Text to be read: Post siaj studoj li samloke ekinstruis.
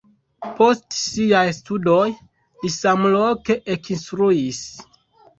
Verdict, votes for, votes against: rejected, 1, 2